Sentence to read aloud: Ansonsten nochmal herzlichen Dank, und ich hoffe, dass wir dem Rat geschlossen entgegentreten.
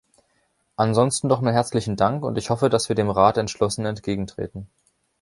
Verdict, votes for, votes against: rejected, 0, 2